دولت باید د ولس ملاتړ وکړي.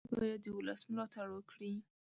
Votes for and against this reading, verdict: 1, 2, rejected